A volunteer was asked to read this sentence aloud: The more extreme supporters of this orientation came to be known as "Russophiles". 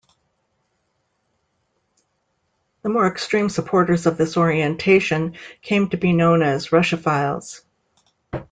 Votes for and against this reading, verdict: 2, 0, accepted